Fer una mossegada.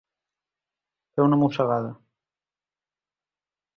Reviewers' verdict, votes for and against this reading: accepted, 2, 0